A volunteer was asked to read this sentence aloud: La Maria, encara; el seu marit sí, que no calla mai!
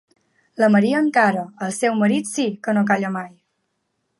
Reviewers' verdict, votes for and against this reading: accepted, 3, 0